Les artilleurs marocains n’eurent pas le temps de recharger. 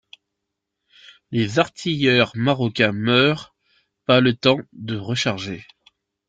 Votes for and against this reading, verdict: 0, 2, rejected